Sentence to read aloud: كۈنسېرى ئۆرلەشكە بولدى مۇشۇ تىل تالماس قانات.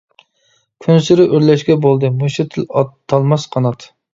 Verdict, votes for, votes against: rejected, 1, 2